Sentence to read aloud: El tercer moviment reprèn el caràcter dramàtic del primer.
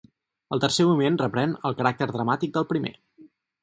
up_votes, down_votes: 0, 4